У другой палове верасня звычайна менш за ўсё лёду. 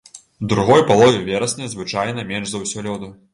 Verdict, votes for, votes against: rejected, 1, 2